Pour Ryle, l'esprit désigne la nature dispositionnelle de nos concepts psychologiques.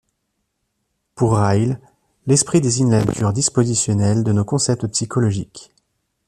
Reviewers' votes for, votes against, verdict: 1, 2, rejected